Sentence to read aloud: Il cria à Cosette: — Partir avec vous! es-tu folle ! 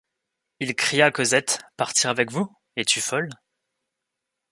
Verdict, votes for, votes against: rejected, 1, 2